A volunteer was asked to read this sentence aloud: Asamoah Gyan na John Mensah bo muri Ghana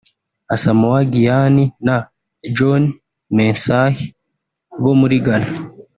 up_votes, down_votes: 2, 0